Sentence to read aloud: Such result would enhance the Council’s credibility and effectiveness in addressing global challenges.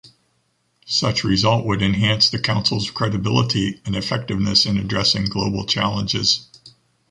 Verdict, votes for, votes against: accepted, 2, 0